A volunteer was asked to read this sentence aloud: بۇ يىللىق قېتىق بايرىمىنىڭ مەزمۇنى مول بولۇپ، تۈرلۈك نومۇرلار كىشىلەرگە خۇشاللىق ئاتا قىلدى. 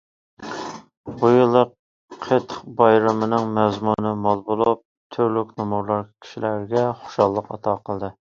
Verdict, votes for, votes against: accepted, 2, 0